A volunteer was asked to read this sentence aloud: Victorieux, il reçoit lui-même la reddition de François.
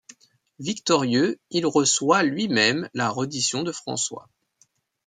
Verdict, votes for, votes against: accepted, 2, 0